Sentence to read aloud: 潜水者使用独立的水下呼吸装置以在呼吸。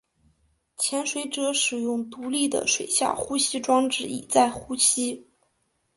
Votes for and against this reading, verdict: 2, 1, accepted